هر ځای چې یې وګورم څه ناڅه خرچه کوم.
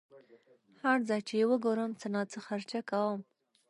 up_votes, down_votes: 0, 2